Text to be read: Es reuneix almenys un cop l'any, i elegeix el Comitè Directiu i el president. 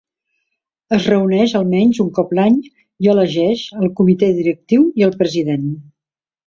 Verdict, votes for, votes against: accepted, 2, 0